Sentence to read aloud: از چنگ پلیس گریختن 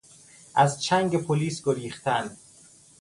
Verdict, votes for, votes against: accepted, 2, 0